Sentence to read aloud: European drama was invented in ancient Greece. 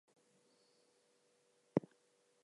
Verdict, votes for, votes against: rejected, 0, 4